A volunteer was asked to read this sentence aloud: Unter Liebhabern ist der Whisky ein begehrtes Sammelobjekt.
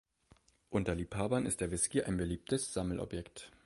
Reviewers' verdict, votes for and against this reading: rejected, 0, 3